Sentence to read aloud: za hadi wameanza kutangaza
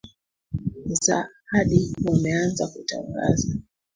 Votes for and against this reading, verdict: 2, 3, rejected